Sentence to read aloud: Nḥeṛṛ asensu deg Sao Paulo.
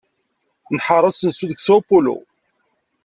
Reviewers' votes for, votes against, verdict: 2, 0, accepted